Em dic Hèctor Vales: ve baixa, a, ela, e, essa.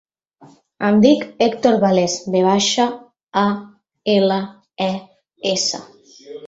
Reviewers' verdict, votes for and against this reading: accepted, 3, 0